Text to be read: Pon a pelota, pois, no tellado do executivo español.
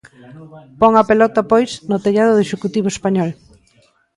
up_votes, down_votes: 0, 2